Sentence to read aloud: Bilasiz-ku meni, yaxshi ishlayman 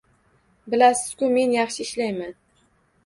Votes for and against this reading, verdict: 2, 0, accepted